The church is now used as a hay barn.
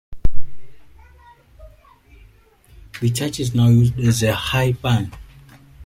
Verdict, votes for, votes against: rejected, 0, 2